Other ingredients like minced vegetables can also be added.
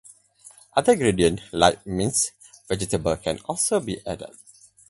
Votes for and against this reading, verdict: 8, 10, rejected